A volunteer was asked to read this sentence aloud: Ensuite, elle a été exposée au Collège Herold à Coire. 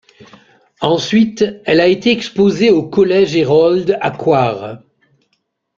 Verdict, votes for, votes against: accepted, 2, 1